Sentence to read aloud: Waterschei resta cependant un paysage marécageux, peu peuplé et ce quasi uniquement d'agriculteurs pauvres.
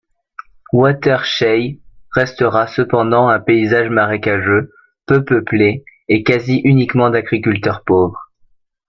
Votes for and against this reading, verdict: 0, 2, rejected